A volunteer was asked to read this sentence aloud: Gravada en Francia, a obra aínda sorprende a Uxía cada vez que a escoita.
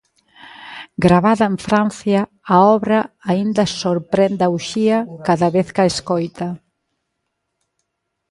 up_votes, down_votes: 2, 0